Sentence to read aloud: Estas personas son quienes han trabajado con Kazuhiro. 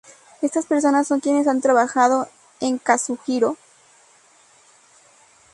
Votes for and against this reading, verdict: 2, 2, rejected